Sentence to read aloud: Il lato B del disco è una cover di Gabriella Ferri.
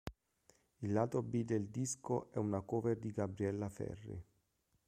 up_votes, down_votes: 2, 0